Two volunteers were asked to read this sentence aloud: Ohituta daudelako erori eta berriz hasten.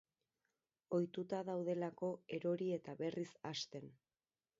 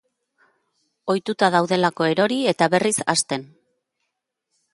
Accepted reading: second